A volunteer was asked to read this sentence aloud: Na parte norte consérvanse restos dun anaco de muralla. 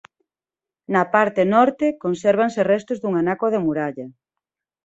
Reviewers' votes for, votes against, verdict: 2, 0, accepted